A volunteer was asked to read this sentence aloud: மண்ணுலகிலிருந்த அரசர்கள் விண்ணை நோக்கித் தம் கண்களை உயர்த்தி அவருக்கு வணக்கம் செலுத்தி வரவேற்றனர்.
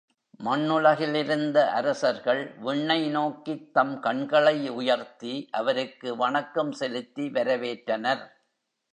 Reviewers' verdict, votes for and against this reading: accepted, 3, 0